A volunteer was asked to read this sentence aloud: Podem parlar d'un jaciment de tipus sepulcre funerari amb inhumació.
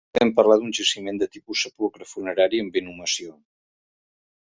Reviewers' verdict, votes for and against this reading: rejected, 1, 2